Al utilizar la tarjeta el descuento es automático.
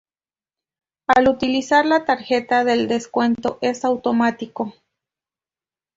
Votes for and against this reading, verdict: 0, 2, rejected